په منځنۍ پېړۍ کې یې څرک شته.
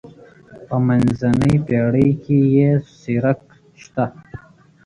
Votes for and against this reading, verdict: 1, 2, rejected